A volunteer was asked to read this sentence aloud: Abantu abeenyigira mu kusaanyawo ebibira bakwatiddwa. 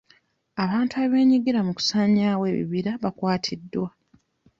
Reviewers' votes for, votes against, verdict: 2, 0, accepted